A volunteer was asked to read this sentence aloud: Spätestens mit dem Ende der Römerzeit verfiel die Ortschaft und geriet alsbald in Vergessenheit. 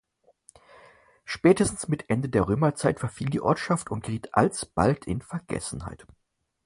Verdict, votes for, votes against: accepted, 4, 2